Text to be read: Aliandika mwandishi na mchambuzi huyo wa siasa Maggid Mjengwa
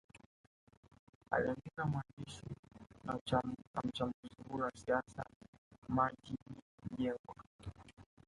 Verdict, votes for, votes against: accepted, 2, 1